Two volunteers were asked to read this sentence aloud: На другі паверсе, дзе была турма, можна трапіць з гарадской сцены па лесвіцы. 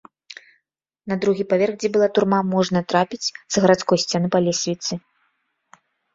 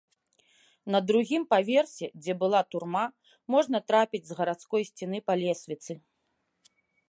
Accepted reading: second